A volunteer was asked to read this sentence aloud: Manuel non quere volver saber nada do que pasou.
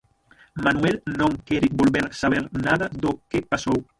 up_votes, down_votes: 0, 6